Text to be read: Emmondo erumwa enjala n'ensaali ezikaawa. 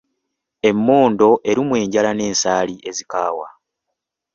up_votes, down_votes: 2, 0